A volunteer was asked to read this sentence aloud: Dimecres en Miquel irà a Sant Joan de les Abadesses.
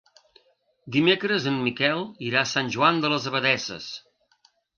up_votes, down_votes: 3, 0